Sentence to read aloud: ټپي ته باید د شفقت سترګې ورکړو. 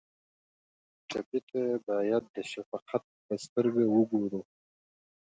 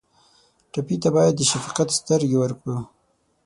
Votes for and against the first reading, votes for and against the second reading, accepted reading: 1, 2, 6, 0, second